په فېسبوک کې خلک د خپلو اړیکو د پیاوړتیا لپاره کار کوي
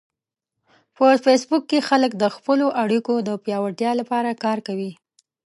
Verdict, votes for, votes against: accepted, 2, 0